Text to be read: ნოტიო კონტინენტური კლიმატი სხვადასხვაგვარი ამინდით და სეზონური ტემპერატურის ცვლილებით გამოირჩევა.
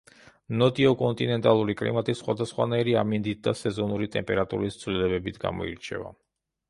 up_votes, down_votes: 0, 2